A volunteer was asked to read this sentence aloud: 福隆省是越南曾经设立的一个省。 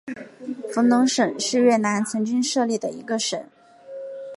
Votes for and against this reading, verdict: 2, 0, accepted